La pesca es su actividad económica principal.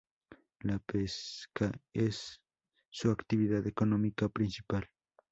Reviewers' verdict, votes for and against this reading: rejected, 2, 2